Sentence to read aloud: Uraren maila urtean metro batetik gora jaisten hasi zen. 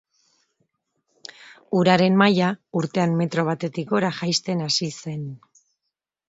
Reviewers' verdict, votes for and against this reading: accepted, 2, 0